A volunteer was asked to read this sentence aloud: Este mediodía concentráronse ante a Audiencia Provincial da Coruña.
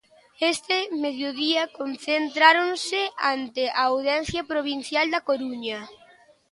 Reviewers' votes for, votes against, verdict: 0, 2, rejected